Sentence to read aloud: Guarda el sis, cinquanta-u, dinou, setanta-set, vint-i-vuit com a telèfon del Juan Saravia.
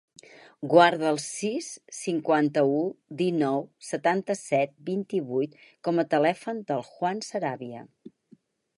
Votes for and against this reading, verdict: 6, 2, accepted